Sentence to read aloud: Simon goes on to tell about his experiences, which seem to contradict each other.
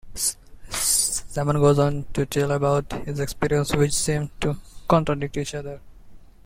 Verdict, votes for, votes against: accepted, 2, 1